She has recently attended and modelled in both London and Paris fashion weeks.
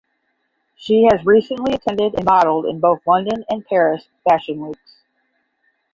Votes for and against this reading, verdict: 5, 10, rejected